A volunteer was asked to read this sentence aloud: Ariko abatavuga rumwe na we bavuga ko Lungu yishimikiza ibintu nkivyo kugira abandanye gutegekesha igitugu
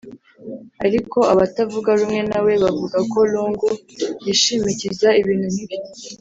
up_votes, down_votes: 0, 3